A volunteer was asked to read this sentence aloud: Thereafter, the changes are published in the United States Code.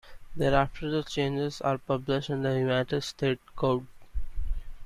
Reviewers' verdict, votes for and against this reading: rejected, 1, 2